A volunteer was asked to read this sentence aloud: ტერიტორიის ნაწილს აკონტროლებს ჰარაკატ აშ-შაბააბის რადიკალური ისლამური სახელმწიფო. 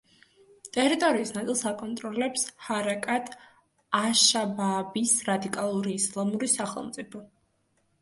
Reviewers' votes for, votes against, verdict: 2, 0, accepted